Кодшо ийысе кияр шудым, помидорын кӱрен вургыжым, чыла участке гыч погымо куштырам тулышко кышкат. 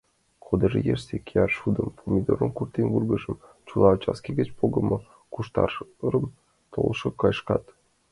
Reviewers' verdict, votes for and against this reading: rejected, 0, 2